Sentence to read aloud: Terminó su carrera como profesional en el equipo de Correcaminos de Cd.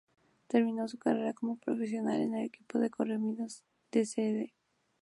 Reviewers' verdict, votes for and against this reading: accepted, 2, 0